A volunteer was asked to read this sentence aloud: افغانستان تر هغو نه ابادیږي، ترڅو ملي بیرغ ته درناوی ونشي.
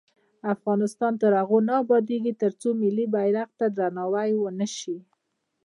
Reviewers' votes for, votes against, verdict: 1, 2, rejected